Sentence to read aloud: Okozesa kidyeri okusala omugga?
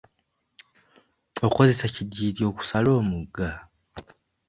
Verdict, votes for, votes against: accepted, 2, 0